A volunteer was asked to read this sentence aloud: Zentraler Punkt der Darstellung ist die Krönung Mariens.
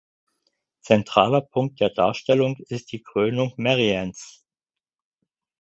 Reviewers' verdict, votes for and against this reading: rejected, 0, 4